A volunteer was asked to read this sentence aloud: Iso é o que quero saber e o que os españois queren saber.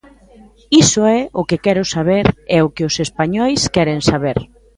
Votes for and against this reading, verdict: 2, 0, accepted